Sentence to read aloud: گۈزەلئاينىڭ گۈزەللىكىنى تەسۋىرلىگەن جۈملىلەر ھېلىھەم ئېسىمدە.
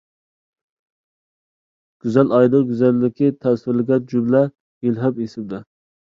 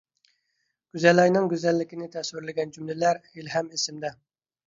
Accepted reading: second